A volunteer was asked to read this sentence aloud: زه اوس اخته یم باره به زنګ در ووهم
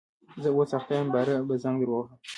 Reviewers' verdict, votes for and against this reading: rejected, 1, 2